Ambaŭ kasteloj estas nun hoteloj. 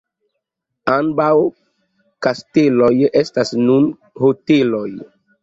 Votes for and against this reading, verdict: 1, 2, rejected